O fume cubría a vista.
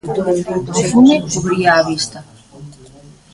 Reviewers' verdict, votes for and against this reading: rejected, 0, 2